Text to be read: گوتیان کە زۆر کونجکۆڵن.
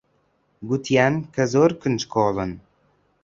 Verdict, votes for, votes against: accepted, 2, 0